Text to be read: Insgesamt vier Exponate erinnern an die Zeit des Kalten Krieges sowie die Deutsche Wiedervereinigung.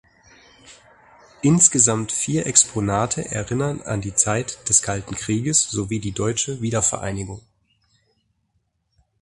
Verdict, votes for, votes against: accepted, 4, 0